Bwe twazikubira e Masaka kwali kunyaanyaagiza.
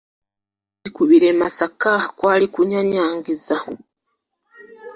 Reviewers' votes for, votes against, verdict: 0, 2, rejected